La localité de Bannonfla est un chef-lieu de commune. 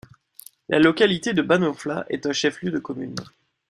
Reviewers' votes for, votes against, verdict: 2, 0, accepted